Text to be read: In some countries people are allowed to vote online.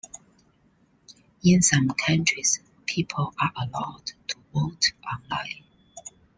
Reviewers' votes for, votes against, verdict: 2, 0, accepted